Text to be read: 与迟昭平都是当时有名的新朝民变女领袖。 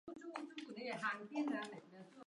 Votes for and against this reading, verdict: 0, 2, rejected